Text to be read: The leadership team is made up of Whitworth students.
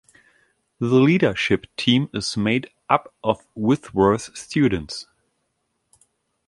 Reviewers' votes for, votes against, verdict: 1, 2, rejected